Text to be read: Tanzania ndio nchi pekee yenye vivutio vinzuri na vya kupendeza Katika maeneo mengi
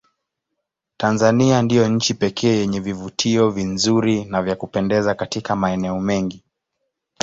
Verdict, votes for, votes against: rejected, 1, 2